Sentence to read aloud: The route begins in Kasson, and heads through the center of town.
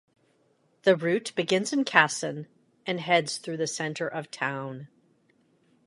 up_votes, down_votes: 2, 0